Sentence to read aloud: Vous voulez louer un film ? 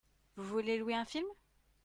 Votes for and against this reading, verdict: 0, 2, rejected